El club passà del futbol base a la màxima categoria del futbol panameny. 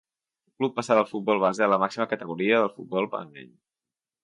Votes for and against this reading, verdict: 0, 2, rejected